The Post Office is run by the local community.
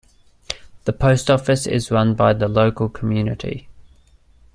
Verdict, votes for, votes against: accepted, 2, 0